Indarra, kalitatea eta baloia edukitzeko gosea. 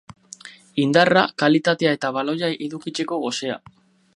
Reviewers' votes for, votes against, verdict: 2, 2, rejected